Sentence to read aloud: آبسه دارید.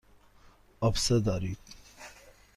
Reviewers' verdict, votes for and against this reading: accepted, 2, 0